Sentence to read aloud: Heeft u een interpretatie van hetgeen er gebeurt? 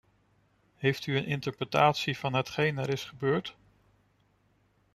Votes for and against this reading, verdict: 0, 2, rejected